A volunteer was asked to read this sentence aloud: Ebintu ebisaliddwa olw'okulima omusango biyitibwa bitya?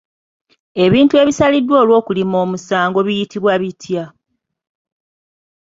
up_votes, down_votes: 2, 0